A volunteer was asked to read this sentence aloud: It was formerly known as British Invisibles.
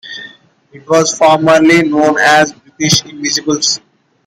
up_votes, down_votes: 1, 2